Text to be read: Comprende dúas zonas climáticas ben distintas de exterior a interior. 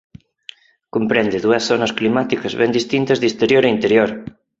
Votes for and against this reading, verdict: 4, 2, accepted